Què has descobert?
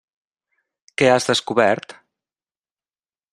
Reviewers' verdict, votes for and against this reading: accepted, 3, 0